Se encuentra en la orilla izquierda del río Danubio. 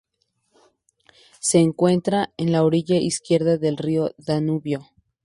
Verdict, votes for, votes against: accepted, 2, 0